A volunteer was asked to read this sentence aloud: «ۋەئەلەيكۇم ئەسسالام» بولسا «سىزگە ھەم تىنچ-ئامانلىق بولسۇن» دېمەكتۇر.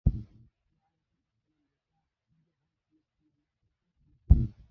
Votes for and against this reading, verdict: 0, 2, rejected